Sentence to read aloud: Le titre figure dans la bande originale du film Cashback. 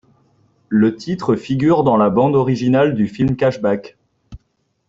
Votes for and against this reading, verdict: 2, 0, accepted